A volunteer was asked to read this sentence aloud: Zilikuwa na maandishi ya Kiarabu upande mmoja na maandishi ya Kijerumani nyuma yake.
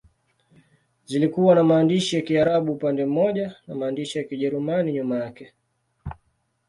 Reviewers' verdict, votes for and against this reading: accepted, 2, 0